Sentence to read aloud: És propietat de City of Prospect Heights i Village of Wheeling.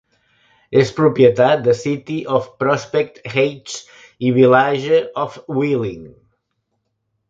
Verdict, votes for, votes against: rejected, 0, 2